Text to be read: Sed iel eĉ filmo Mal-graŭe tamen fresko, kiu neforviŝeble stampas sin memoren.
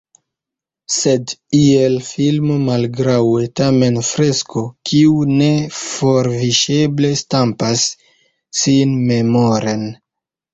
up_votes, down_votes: 0, 2